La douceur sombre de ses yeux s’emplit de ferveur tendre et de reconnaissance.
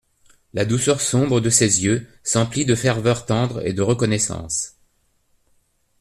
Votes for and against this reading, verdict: 2, 0, accepted